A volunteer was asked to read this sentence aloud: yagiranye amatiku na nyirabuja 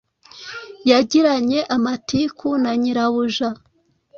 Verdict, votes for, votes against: accepted, 3, 0